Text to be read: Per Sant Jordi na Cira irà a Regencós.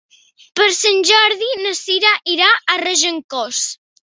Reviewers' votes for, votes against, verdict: 3, 0, accepted